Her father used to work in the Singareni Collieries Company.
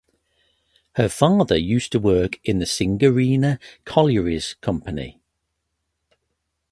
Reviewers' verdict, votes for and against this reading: accepted, 4, 0